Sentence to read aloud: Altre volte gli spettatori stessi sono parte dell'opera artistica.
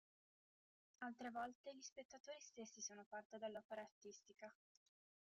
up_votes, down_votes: 0, 2